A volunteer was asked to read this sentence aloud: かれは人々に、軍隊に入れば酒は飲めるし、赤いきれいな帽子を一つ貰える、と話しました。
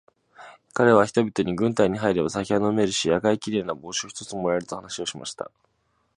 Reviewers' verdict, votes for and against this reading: accepted, 2, 1